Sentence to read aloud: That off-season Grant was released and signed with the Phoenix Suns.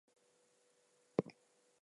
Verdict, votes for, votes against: rejected, 0, 4